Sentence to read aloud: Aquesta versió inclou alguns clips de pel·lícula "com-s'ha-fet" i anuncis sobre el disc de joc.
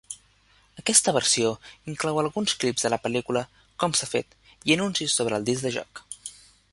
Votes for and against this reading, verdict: 0, 2, rejected